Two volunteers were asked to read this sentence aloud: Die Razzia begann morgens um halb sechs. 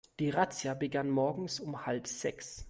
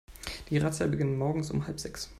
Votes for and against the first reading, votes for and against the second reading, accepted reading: 2, 0, 0, 2, first